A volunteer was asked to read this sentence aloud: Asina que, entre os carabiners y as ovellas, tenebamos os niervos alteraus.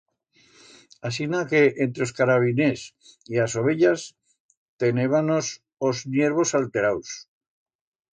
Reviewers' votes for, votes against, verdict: 1, 2, rejected